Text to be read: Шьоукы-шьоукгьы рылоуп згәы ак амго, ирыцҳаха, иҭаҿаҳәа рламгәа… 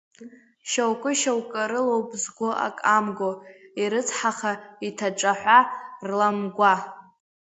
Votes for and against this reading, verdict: 1, 2, rejected